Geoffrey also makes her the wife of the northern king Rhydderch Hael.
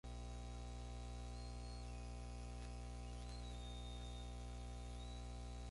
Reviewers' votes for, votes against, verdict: 0, 4, rejected